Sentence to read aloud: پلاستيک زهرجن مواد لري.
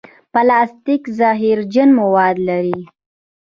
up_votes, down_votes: 2, 0